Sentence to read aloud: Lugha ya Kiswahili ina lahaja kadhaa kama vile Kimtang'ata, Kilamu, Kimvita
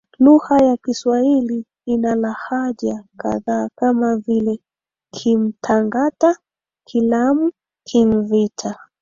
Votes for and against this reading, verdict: 2, 3, rejected